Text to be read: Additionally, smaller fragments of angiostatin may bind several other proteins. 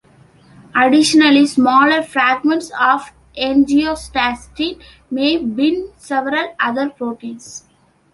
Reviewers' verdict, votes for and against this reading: rejected, 1, 2